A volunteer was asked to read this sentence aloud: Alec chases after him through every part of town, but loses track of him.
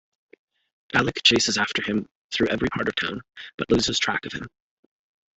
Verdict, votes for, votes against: accepted, 2, 0